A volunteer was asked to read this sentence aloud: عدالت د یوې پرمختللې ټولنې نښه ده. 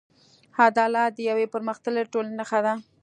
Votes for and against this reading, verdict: 2, 0, accepted